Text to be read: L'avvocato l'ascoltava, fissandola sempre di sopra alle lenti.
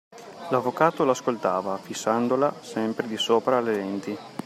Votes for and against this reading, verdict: 2, 0, accepted